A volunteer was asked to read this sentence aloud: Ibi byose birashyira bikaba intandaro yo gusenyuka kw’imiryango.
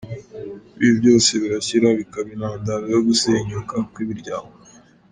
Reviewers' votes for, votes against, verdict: 2, 0, accepted